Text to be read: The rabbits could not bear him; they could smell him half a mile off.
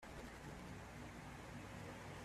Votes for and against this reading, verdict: 0, 2, rejected